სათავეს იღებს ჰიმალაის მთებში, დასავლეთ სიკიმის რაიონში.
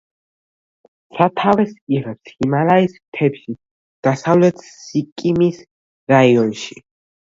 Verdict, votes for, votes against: rejected, 1, 2